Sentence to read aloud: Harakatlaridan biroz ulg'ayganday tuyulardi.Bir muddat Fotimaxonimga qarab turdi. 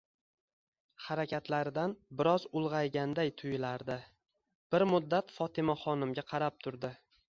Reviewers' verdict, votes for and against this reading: accepted, 2, 0